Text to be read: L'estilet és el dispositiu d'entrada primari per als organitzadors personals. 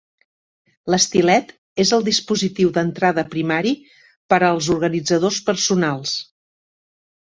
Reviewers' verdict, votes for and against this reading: accepted, 3, 0